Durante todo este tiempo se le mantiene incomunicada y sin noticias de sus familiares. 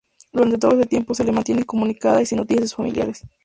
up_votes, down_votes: 2, 0